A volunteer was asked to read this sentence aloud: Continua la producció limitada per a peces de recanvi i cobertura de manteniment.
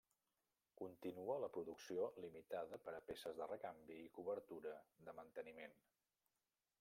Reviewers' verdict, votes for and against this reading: rejected, 0, 2